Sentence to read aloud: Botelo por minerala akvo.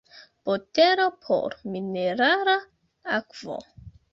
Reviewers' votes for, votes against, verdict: 0, 2, rejected